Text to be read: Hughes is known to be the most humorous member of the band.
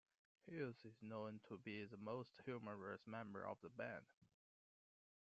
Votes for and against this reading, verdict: 2, 0, accepted